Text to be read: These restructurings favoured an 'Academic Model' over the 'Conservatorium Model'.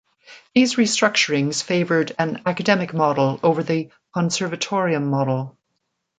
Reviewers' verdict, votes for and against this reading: accepted, 2, 0